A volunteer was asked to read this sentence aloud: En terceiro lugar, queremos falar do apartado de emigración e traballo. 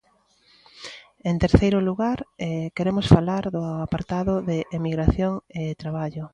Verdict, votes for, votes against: accepted, 2, 1